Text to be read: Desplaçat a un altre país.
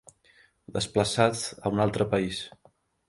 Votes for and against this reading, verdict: 0, 2, rejected